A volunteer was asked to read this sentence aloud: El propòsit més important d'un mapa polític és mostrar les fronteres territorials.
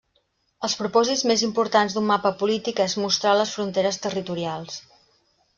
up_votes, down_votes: 1, 2